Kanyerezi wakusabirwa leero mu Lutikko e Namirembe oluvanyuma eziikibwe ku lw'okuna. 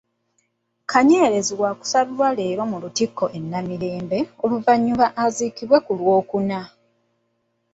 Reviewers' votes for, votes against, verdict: 1, 2, rejected